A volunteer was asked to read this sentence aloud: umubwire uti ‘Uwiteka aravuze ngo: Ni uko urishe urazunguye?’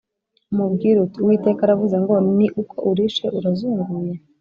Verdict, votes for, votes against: accepted, 2, 0